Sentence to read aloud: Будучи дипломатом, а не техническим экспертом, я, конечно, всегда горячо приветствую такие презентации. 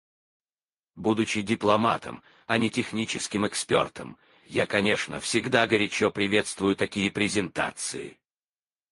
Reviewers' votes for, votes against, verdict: 0, 4, rejected